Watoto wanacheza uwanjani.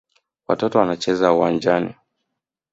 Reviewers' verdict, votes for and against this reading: accepted, 3, 1